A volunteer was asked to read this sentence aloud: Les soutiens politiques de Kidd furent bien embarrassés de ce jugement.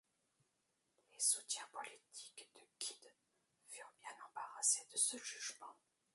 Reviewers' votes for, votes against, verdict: 0, 2, rejected